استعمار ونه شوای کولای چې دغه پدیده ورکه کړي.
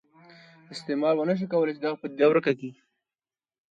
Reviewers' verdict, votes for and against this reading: accepted, 2, 0